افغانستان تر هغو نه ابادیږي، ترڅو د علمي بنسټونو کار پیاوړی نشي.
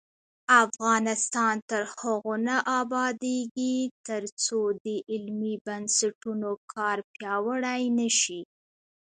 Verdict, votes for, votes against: accepted, 2, 0